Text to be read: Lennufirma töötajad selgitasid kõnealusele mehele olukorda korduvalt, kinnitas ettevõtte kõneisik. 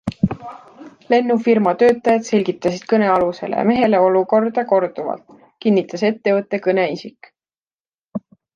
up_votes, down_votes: 2, 0